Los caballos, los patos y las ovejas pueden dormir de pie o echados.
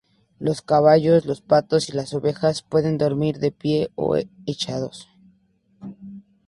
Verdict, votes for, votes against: accepted, 2, 0